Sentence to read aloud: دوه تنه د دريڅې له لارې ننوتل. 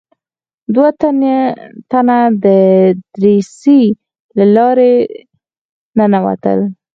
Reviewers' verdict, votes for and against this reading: rejected, 0, 4